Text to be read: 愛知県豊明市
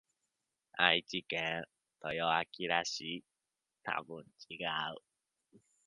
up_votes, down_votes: 1, 2